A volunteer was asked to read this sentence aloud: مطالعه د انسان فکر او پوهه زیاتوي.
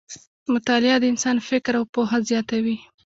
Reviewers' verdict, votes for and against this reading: accepted, 2, 1